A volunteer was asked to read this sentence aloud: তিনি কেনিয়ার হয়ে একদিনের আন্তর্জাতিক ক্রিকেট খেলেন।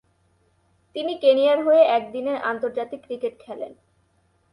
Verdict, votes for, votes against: rejected, 2, 2